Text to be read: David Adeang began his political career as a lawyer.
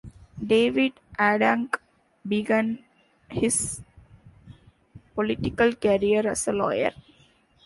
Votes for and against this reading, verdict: 1, 2, rejected